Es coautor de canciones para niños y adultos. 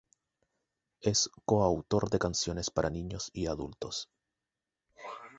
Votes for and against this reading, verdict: 2, 0, accepted